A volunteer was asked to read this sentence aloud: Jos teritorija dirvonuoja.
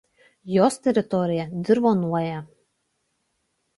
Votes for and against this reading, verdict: 2, 0, accepted